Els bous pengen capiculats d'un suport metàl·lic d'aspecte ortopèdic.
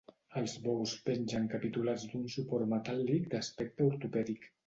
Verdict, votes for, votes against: accepted, 2, 0